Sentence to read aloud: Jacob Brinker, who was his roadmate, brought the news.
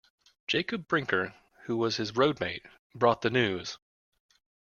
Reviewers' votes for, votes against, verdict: 3, 0, accepted